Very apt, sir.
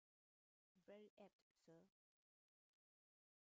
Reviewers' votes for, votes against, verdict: 0, 2, rejected